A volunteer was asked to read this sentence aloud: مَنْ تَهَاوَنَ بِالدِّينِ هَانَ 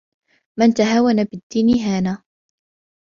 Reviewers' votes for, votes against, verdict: 2, 0, accepted